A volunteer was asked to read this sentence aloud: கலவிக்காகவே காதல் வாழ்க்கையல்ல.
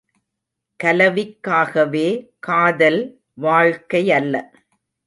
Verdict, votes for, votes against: accepted, 2, 0